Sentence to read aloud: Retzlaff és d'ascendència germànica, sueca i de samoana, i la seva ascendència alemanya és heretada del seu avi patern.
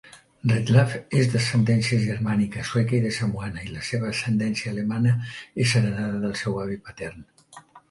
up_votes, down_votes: 0, 2